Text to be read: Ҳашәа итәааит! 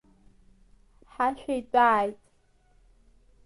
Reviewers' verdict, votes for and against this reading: rejected, 1, 2